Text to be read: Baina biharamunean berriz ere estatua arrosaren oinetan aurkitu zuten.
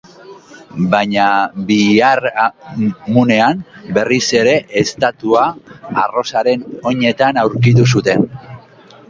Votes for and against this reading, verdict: 3, 1, accepted